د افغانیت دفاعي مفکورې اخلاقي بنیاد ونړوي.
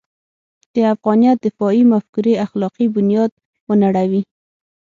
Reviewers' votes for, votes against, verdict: 6, 0, accepted